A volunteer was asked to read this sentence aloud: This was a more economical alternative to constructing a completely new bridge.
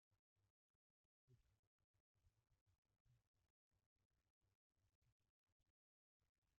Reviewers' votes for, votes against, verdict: 0, 2, rejected